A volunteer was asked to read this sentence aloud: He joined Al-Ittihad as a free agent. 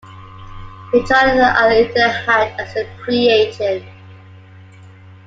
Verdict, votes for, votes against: rejected, 1, 2